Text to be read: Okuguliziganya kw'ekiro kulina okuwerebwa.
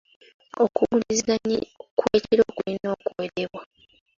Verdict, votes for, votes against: rejected, 1, 2